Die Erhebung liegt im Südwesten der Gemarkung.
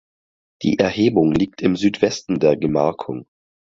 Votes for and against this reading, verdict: 4, 0, accepted